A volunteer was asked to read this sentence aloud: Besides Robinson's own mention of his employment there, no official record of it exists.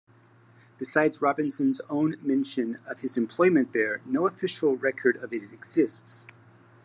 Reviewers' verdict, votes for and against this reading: accepted, 2, 0